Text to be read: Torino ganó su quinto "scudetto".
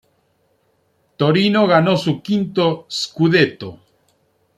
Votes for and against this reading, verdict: 2, 0, accepted